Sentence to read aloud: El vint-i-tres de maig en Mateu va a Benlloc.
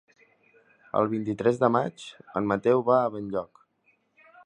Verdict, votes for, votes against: accepted, 3, 0